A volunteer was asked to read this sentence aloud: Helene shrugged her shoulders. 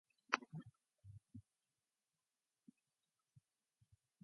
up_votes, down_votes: 0, 2